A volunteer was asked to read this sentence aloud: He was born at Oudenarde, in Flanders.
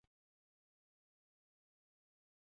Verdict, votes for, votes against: rejected, 0, 2